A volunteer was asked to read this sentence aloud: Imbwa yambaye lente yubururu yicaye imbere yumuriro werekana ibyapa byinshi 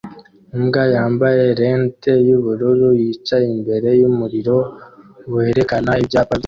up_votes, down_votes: 0, 2